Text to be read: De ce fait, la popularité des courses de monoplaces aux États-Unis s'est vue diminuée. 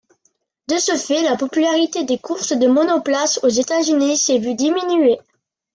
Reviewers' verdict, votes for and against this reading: accepted, 2, 0